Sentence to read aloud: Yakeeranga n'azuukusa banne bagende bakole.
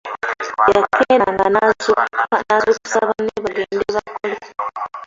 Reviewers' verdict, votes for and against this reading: rejected, 0, 2